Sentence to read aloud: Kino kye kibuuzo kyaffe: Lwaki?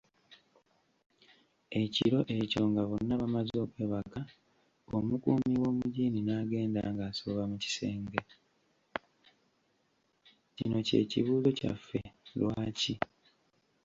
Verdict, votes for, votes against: rejected, 1, 2